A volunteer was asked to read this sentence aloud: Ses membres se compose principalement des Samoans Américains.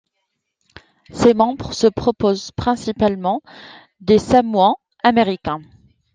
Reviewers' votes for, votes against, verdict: 2, 0, accepted